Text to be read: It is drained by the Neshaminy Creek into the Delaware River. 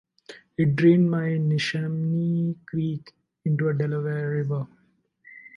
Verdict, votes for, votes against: rejected, 0, 2